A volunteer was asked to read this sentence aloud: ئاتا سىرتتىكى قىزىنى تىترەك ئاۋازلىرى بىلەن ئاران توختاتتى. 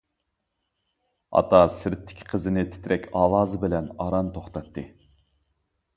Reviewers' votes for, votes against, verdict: 0, 2, rejected